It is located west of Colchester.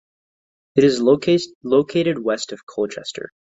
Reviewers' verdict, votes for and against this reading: accepted, 2, 1